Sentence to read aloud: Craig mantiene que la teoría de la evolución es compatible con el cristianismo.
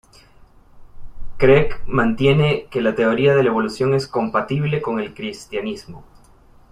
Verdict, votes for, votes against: accepted, 2, 0